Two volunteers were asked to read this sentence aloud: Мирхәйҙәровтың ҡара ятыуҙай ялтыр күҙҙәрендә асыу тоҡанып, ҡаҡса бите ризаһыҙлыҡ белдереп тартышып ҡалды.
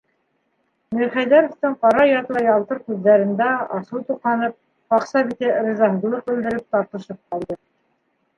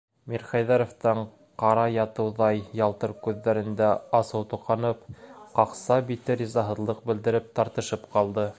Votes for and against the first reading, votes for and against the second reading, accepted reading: 1, 2, 2, 0, second